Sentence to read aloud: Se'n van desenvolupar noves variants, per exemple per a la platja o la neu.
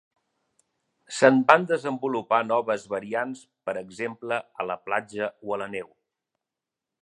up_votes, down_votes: 1, 3